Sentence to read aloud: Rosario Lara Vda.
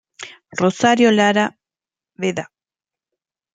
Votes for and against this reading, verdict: 1, 2, rejected